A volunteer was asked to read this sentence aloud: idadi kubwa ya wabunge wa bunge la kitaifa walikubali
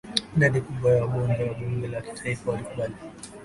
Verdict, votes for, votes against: rejected, 1, 2